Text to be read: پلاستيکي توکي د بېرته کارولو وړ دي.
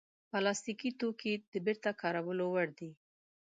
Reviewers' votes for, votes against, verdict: 6, 0, accepted